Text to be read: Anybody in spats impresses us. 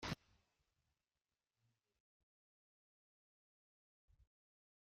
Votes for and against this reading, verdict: 0, 2, rejected